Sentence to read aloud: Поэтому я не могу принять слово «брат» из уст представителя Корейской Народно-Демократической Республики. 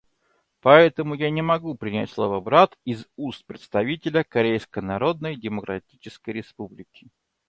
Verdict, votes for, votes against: rejected, 0, 2